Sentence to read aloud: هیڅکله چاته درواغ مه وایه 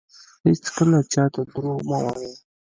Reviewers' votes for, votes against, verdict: 1, 2, rejected